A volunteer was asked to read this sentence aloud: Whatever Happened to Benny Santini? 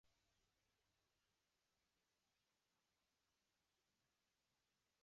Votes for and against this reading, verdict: 0, 2, rejected